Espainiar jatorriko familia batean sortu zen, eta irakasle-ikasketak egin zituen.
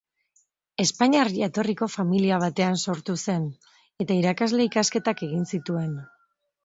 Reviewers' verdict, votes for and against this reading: accepted, 4, 1